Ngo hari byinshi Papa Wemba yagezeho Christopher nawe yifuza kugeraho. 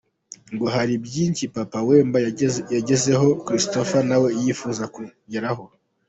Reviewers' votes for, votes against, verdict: 1, 2, rejected